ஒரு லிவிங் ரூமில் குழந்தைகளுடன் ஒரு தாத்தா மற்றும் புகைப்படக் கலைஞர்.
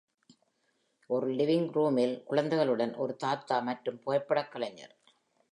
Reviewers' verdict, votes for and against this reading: rejected, 0, 2